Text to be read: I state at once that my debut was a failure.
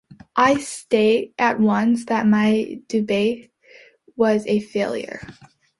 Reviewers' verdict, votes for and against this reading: rejected, 0, 2